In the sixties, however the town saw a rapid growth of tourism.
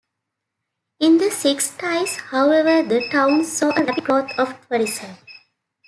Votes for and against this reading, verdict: 0, 4, rejected